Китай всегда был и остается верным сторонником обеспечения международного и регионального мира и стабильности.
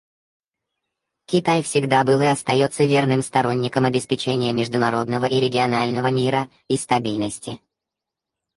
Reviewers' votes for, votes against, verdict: 2, 4, rejected